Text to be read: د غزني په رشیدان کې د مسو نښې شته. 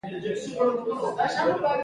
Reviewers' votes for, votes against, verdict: 1, 2, rejected